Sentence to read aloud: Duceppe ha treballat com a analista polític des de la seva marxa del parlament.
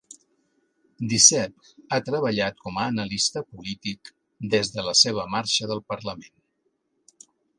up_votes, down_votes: 2, 0